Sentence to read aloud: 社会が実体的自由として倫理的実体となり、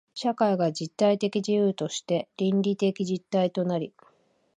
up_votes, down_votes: 2, 0